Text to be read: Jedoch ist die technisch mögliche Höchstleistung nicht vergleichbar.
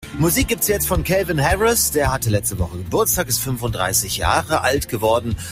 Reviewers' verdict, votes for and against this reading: rejected, 0, 2